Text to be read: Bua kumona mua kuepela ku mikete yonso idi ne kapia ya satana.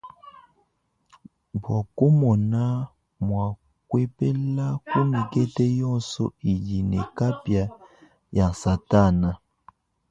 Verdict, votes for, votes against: rejected, 0, 2